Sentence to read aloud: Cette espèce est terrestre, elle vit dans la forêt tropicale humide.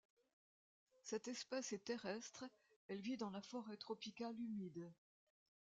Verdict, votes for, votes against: accepted, 2, 1